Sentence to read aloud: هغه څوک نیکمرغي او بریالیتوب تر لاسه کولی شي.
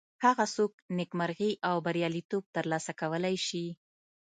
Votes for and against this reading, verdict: 2, 0, accepted